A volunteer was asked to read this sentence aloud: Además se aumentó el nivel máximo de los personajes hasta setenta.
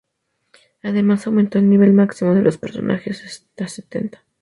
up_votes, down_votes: 0, 2